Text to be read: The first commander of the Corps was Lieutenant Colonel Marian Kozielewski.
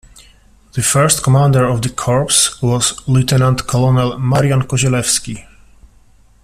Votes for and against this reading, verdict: 2, 1, accepted